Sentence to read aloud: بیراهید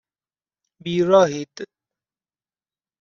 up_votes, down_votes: 2, 0